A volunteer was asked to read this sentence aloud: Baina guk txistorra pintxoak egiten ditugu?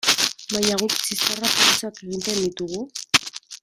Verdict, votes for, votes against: rejected, 0, 2